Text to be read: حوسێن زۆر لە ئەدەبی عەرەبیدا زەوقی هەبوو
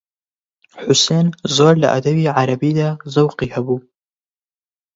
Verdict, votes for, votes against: accepted, 40, 0